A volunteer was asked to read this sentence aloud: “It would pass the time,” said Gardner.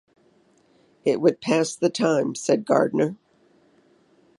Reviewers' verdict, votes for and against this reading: accepted, 2, 0